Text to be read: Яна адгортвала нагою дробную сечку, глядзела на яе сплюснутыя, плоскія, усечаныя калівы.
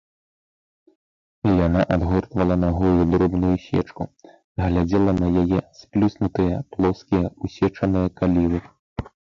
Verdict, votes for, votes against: rejected, 0, 3